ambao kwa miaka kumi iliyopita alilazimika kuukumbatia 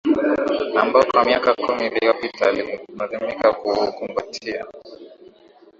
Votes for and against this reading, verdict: 2, 0, accepted